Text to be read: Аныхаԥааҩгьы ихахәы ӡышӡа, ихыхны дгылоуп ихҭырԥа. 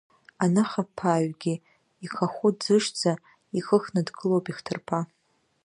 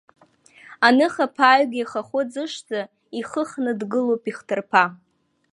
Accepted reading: second